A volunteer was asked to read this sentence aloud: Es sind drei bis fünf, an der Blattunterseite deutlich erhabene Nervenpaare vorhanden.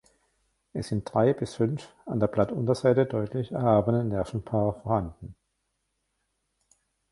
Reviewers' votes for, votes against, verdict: 1, 2, rejected